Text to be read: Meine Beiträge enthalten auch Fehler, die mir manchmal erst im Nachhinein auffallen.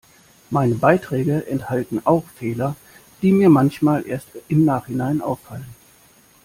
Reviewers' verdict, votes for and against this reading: accepted, 2, 0